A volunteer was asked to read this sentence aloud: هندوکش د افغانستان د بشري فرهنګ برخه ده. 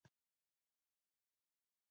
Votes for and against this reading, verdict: 1, 2, rejected